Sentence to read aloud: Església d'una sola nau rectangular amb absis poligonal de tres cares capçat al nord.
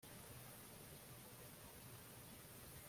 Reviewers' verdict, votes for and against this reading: rejected, 0, 2